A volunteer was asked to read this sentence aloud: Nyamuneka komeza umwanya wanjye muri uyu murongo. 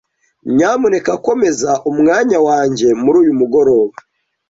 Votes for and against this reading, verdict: 0, 2, rejected